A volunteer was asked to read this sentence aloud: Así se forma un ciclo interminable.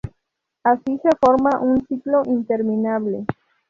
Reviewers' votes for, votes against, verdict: 0, 2, rejected